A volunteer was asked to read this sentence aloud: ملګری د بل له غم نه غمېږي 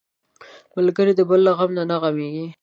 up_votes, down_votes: 2, 0